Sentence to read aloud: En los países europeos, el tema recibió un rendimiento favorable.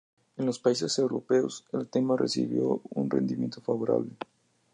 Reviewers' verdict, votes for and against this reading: accepted, 4, 0